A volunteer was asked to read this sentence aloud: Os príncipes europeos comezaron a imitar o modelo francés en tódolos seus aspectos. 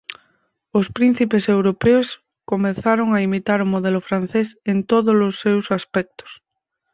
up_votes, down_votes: 4, 0